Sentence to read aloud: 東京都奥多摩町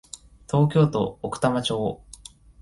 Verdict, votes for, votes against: accepted, 2, 0